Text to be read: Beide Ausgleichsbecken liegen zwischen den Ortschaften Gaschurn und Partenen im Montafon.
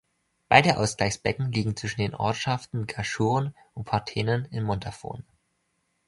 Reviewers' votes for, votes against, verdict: 2, 0, accepted